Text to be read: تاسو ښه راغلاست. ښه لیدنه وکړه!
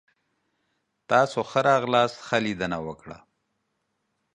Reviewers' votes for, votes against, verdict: 2, 0, accepted